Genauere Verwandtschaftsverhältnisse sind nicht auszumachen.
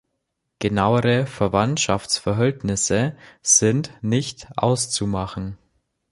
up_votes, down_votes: 0, 2